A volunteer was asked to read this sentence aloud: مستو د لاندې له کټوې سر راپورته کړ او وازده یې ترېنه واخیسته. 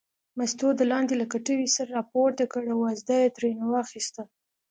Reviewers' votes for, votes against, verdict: 2, 0, accepted